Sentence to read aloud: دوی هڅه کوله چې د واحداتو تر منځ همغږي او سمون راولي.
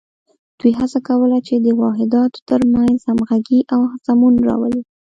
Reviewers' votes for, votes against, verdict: 1, 2, rejected